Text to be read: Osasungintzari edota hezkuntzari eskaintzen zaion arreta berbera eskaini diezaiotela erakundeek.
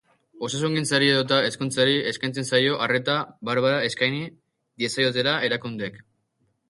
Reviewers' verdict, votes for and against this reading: rejected, 0, 2